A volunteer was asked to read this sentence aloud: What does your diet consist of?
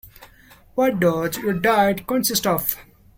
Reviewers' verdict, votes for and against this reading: rejected, 0, 2